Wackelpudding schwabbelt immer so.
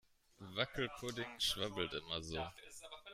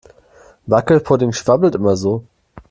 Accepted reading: second